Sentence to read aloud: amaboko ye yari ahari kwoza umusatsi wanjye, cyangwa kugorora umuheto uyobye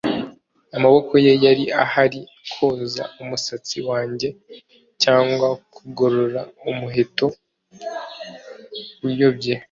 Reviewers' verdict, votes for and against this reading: accepted, 3, 0